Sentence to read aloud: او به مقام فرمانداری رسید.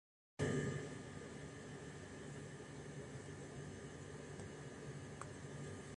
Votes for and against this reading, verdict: 0, 2, rejected